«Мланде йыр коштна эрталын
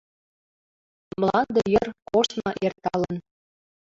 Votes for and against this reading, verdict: 0, 3, rejected